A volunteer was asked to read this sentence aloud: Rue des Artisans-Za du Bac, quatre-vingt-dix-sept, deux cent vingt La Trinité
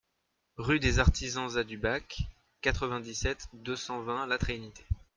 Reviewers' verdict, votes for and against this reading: accepted, 2, 0